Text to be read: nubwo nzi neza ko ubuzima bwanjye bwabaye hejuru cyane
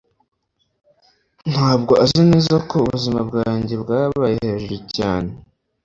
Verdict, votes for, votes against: rejected, 1, 2